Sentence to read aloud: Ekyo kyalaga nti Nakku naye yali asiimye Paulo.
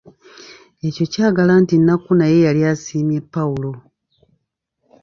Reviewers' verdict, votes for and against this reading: accepted, 2, 0